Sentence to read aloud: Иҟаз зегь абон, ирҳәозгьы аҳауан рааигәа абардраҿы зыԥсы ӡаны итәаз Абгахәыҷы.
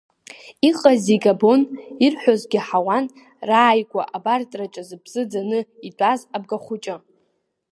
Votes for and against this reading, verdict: 1, 2, rejected